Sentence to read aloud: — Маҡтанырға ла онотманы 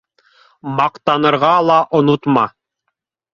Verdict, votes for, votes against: rejected, 0, 2